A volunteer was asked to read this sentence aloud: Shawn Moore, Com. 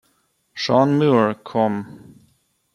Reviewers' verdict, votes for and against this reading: rejected, 0, 2